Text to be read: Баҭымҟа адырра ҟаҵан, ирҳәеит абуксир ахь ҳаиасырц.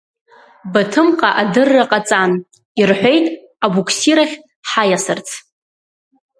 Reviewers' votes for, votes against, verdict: 2, 0, accepted